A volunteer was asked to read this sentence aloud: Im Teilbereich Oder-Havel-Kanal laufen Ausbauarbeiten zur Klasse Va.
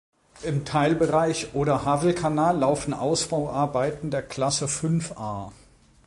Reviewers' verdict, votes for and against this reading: rejected, 0, 2